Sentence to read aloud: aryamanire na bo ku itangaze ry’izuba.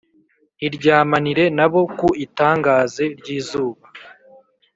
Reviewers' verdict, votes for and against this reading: rejected, 2, 3